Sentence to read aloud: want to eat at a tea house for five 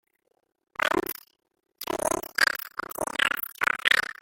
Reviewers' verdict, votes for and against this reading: rejected, 0, 2